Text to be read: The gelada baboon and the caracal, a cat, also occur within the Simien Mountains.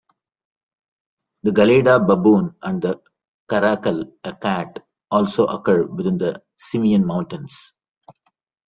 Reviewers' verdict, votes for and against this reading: accepted, 2, 0